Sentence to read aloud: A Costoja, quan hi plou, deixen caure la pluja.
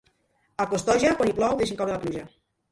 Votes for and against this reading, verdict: 2, 3, rejected